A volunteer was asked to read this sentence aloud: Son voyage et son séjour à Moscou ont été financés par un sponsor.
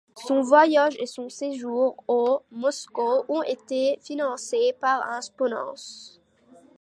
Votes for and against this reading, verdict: 1, 2, rejected